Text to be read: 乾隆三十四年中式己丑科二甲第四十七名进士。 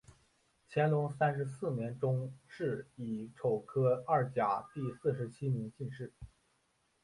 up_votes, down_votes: 5, 0